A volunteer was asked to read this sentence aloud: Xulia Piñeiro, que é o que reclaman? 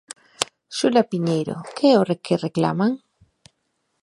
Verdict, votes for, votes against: rejected, 1, 2